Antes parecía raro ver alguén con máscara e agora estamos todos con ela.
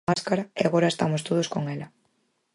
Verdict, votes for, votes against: rejected, 0, 4